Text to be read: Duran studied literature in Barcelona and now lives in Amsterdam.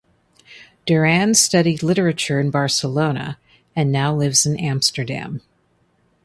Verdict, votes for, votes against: accepted, 2, 0